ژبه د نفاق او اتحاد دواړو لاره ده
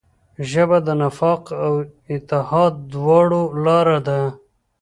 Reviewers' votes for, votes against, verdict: 2, 1, accepted